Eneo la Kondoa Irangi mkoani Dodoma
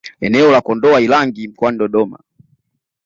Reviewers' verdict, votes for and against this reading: accepted, 2, 0